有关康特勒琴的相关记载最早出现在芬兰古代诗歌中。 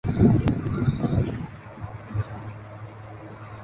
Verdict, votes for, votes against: rejected, 1, 2